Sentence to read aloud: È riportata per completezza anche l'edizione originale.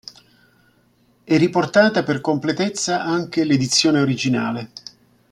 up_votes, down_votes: 2, 0